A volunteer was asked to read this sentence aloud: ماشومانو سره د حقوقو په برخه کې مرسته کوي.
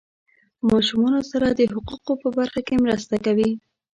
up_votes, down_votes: 2, 0